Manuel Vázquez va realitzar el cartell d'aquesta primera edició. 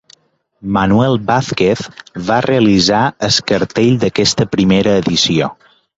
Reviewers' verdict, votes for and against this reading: rejected, 1, 2